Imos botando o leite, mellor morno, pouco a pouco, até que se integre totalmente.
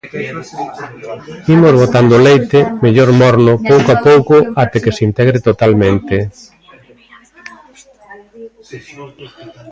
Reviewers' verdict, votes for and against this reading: rejected, 1, 2